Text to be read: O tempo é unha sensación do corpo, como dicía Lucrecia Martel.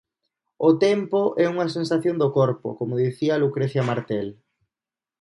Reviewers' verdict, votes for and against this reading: accepted, 2, 0